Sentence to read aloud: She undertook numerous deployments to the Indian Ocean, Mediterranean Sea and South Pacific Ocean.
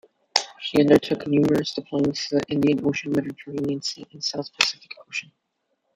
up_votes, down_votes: 0, 2